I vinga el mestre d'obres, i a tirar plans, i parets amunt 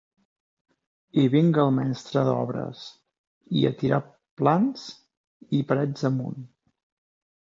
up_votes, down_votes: 0, 2